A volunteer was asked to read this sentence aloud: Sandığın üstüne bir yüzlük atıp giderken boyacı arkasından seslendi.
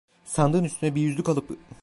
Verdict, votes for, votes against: rejected, 0, 2